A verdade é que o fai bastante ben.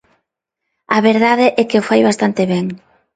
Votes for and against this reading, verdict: 2, 0, accepted